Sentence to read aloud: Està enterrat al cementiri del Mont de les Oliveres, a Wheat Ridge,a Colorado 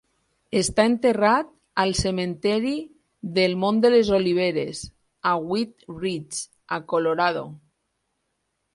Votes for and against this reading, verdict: 2, 4, rejected